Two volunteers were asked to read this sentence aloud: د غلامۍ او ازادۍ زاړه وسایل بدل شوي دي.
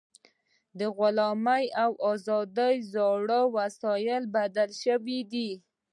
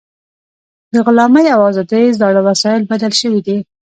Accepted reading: first